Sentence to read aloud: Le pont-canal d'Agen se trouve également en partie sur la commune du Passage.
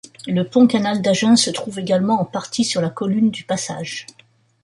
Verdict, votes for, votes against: rejected, 1, 2